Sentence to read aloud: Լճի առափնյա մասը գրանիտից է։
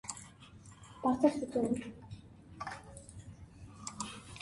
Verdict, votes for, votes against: rejected, 0, 2